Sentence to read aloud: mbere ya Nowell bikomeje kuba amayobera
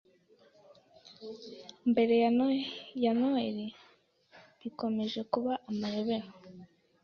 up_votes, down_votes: 1, 2